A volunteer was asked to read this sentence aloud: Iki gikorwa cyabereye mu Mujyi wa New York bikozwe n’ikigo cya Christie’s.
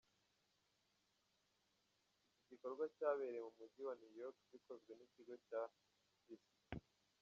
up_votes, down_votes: 1, 2